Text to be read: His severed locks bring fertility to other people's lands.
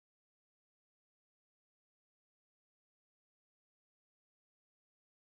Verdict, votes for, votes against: rejected, 0, 2